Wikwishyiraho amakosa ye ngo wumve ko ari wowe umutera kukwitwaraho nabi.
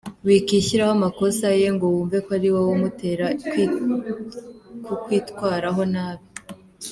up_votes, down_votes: 1, 2